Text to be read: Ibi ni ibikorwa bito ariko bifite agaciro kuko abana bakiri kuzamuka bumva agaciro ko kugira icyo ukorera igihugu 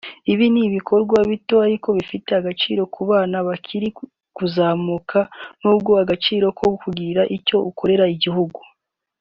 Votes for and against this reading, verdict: 1, 2, rejected